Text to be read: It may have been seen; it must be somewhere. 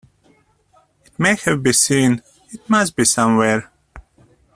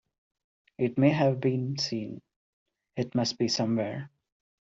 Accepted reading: second